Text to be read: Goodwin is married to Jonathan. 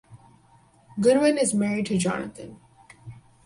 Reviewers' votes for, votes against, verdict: 0, 4, rejected